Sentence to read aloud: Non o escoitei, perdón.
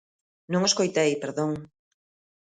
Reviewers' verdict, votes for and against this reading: accepted, 2, 0